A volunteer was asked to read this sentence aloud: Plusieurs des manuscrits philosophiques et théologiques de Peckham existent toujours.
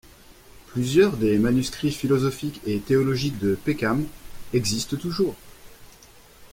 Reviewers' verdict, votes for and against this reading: accepted, 2, 0